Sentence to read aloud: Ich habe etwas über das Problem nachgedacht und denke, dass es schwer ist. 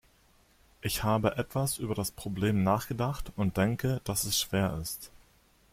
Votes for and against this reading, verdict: 2, 0, accepted